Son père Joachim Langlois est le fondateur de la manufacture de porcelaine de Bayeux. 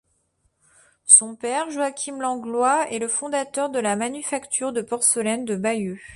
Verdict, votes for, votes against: rejected, 0, 2